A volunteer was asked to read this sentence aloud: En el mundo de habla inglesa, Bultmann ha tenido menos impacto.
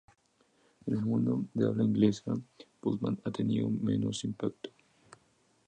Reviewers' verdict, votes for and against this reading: rejected, 0, 2